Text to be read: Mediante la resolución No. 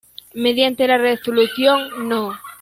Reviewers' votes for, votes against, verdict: 2, 0, accepted